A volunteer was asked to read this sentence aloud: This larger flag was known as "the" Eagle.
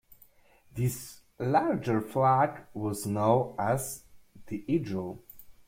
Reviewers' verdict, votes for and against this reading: rejected, 0, 2